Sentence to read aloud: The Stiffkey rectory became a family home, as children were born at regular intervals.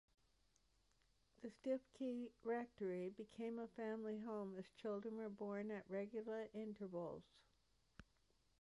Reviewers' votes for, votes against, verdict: 2, 1, accepted